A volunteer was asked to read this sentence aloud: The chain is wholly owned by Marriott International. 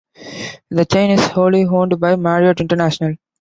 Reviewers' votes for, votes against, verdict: 2, 0, accepted